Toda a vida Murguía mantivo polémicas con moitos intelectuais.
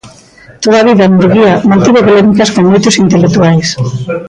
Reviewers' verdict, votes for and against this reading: rejected, 0, 2